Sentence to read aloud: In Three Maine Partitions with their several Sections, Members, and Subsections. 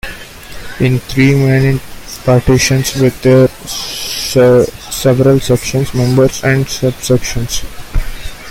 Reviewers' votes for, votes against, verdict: 1, 2, rejected